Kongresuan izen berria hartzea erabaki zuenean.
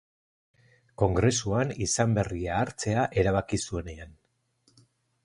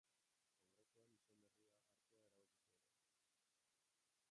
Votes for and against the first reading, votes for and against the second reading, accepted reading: 4, 0, 0, 2, first